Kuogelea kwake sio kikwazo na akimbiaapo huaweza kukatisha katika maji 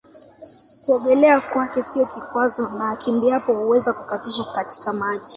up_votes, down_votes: 2, 0